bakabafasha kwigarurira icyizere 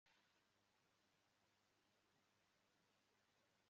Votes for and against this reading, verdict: 0, 2, rejected